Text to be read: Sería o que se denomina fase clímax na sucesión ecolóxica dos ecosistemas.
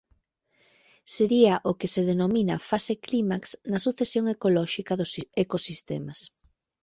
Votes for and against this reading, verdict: 1, 2, rejected